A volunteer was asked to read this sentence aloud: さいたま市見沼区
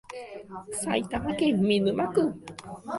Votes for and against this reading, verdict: 0, 2, rejected